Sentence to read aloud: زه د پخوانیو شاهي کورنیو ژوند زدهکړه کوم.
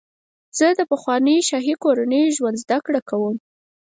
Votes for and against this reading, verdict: 4, 0, accepted